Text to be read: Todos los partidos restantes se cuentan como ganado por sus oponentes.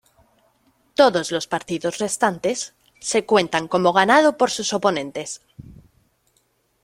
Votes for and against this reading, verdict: 2, 0, accepted